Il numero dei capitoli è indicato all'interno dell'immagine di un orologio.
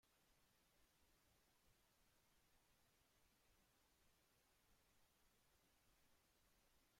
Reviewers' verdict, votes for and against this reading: rejected, 0, 2